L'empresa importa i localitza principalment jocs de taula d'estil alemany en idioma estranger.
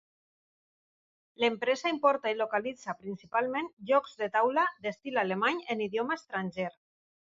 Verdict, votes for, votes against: accepted, 2, 0